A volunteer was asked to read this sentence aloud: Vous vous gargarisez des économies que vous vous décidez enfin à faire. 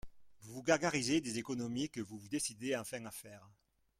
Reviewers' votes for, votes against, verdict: 1, 2, rejected